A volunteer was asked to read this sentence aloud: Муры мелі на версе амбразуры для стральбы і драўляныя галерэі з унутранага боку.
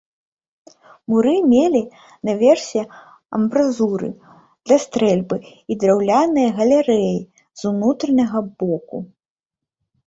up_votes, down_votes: 0, 2